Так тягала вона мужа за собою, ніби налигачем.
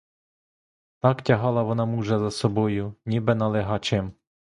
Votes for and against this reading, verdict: 1, 2, rejected